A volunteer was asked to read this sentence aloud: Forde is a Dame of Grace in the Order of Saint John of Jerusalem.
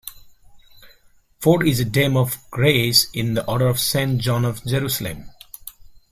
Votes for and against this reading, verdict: 1, 2, rejected